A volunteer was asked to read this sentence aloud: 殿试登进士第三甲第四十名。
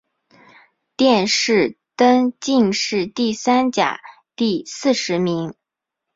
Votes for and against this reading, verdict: 2, 0, accepted